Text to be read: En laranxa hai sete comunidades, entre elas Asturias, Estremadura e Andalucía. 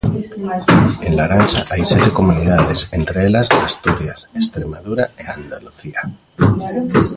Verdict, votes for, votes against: rejected, 1, 2